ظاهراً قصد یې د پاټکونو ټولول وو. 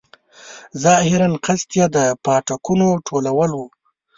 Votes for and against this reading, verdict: 1, 2, rejected